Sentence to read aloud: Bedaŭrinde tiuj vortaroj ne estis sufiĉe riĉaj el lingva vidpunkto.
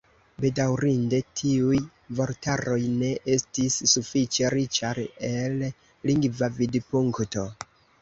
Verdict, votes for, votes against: rejected, 1, 2